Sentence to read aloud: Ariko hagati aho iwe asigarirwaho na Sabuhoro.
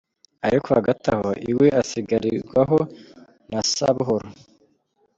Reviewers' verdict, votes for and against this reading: accepted, 2, 0